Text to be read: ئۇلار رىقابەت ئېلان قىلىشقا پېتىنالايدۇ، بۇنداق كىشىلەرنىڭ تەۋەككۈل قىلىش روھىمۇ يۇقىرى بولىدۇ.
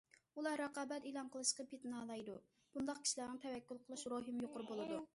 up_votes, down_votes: 2, 0